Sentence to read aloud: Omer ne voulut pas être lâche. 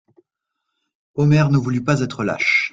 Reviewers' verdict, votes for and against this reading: accepted, 2, 0